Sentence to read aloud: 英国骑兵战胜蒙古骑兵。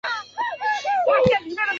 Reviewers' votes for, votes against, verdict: 0, 6, rejected